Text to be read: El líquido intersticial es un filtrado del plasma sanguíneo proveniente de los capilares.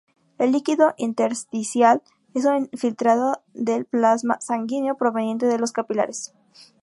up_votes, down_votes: 2, 0